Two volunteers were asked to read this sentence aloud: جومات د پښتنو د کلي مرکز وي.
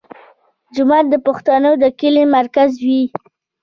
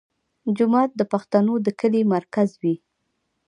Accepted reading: first